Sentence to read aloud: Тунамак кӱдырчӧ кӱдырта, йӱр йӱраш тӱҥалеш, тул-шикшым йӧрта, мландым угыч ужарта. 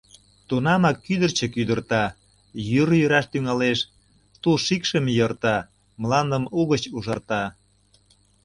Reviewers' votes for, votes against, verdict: 2, 0, accepted